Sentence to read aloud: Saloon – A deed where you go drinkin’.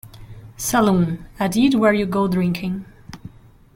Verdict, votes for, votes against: rejected, 0, 2